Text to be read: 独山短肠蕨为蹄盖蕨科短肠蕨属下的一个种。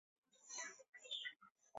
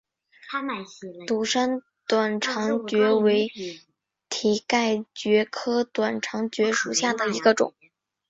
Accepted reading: second